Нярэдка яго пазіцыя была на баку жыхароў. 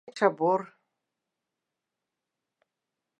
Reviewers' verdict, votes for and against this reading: rejected, 0, 2